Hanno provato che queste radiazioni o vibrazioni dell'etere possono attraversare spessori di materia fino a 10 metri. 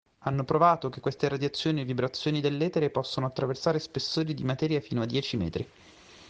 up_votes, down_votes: 0, 2